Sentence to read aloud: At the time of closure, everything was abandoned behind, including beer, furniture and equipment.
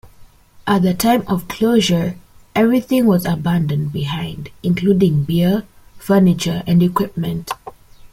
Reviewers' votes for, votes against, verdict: 2, 0, accepted